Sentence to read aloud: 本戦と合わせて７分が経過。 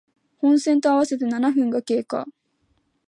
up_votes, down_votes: 0, 2